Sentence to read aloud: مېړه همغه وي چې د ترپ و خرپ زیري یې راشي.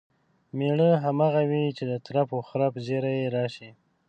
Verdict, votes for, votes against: accepted, 2, 0